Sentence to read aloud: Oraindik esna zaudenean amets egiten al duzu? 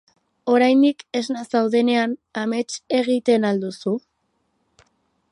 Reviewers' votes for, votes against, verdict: 6, 0, accepted